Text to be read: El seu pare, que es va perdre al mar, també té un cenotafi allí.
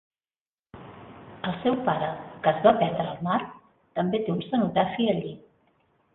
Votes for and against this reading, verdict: 0, 2, rejected